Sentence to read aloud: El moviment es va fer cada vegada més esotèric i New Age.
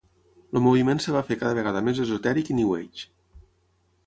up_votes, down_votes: 6, 0